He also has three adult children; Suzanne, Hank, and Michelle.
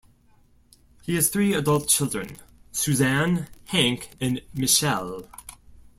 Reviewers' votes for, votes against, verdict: 1, 2, rejected